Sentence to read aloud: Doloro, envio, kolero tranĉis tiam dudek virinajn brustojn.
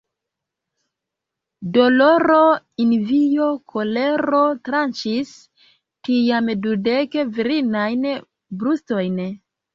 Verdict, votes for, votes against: rejected, 1, 2